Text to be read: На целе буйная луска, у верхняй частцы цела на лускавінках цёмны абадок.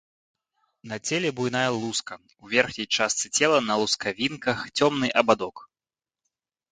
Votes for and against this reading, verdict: 3, 0, accepted